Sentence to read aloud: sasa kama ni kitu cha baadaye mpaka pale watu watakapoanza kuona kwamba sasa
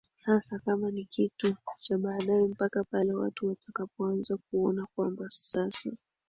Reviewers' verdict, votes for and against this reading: rejected, 1, 4